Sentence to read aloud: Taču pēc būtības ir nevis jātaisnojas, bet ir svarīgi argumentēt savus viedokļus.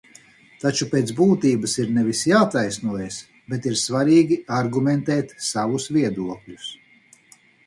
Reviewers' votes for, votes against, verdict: 4, 0, accepted